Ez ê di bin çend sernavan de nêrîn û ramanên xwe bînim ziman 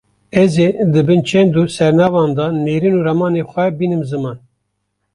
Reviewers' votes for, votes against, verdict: 0, 2, rejected